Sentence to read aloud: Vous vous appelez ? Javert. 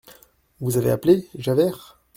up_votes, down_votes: 1, 2